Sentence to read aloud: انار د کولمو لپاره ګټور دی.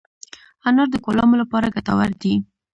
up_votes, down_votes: 2, 0